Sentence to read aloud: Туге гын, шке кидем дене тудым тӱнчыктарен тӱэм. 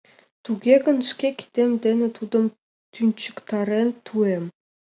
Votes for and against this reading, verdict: 2, 1, accepted